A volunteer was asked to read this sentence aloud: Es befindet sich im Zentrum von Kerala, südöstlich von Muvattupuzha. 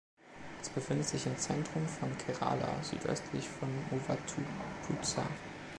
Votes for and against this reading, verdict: 2, 0, accepted